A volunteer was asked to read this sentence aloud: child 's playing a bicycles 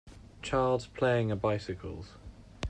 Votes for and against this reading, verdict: 2, 1, accepted